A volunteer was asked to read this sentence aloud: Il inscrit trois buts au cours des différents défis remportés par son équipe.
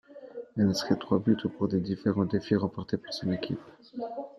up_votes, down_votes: 0, 2